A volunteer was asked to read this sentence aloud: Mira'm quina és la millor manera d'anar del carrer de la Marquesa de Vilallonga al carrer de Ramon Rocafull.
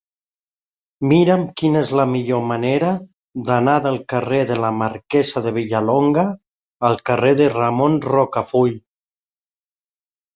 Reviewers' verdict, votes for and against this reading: rejected, 1, 2